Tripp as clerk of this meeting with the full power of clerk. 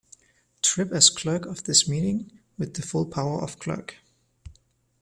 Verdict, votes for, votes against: accepted, 2, 1